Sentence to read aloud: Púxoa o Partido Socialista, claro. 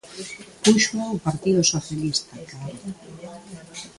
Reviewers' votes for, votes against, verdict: 2, 1, accepted